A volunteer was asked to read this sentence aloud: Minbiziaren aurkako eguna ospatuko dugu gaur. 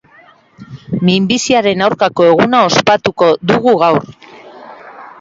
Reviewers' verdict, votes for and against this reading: accepted, 2, 1